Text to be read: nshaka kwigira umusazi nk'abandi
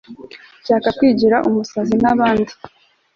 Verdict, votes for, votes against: accepted, 2, 0